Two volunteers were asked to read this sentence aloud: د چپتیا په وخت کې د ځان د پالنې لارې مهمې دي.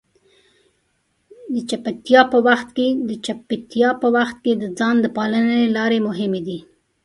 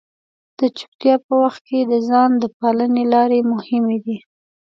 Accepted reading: second